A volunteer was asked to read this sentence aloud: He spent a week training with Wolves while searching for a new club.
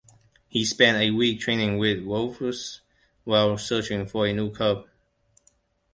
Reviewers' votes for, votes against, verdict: 2, 0, accepted